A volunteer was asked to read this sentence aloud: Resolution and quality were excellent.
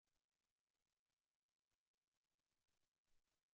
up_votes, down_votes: 0, 2